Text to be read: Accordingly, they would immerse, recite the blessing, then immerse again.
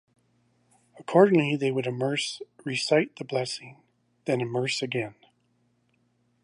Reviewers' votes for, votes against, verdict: 2, 0, accepted